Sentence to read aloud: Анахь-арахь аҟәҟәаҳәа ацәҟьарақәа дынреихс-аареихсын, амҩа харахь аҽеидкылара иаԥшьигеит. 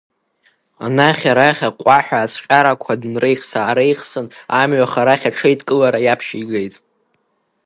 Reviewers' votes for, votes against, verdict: 1, 2, rejected